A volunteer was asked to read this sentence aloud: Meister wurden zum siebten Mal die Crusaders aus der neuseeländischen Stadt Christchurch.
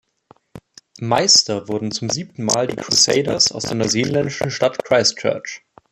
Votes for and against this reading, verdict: 1, 2, rejected